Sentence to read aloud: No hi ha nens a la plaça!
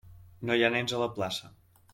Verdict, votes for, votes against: accepted, 3, 0